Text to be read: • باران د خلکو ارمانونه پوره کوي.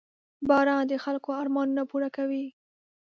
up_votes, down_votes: 2, 0